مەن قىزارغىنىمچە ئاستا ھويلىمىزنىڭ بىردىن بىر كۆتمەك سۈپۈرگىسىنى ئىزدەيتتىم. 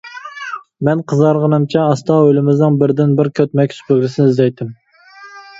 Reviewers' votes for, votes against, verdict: 0, 2, rejected